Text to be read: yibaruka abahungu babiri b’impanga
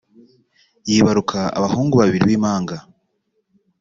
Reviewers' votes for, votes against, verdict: 2, 0, accepted